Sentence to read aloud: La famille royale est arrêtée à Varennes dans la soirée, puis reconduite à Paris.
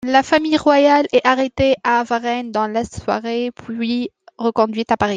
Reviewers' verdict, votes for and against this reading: accepted, 2, 1